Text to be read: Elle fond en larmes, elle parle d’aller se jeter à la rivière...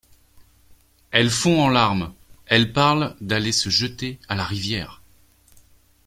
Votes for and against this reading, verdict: 2, 0, accepted